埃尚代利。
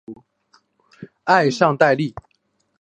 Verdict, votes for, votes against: accepted, 2, 0